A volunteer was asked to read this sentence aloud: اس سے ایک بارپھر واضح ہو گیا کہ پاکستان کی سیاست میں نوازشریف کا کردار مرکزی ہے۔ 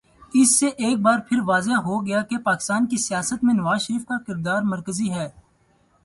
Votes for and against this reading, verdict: 0, 4, rejected